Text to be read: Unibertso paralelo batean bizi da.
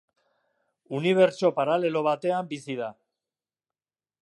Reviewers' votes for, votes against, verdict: 2, 0, accepted